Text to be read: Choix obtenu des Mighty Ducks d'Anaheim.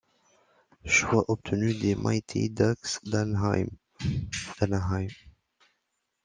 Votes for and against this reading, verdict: 0, 2, rejected